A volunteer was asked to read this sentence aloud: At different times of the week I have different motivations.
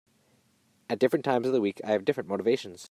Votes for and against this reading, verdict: 3, 0, accepted